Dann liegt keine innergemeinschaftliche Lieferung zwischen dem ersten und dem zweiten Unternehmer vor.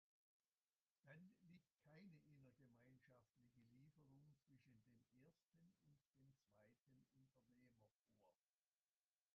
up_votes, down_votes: 0, 2